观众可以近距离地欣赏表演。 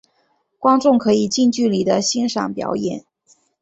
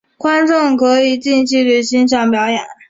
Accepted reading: first